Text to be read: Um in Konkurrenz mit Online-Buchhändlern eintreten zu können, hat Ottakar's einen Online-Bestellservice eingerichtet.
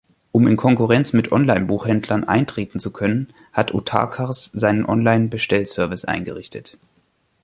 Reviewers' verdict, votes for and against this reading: rejected, 0, 2